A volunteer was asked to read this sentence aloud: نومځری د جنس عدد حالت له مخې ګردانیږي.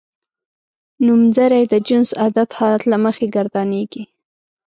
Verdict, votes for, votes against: accepted, 2, 0